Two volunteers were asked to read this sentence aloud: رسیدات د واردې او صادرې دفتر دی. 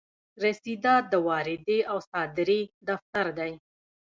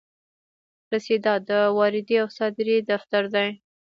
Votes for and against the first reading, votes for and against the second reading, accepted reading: 2, 0, 0, 2, first